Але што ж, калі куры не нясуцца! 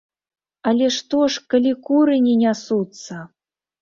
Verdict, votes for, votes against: accepted, 2, 0